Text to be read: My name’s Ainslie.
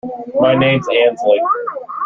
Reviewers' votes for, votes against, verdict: 1, 2, rejected